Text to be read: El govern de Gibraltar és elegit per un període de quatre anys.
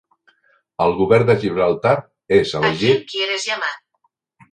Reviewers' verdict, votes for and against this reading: rejected, 0, 4